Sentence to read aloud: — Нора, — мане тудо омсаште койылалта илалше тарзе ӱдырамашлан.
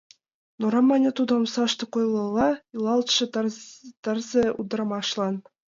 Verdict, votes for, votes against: rejected, 0, 6